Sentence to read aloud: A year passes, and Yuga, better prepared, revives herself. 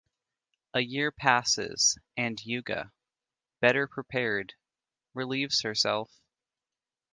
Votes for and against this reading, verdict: 1, 2, rejected